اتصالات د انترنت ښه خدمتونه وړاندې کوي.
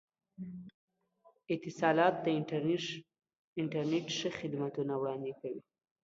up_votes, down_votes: 1, 2